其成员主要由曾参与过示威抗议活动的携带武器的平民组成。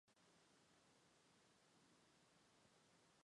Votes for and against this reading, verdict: 0, 2, rejected